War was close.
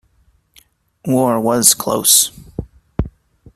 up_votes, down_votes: 2, 0